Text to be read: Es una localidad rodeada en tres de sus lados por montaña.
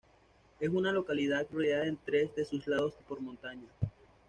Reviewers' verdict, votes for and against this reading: accepted, 2, 0